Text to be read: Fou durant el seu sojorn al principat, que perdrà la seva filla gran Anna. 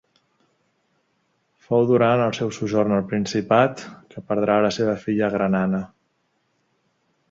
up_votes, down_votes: 2, 0